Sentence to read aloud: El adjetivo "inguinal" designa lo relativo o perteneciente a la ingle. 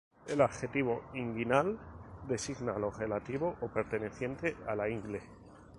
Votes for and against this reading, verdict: 4, 0, accepted